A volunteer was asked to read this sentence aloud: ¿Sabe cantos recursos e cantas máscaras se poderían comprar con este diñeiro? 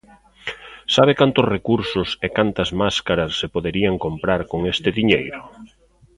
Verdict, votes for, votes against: accepted, 2, 0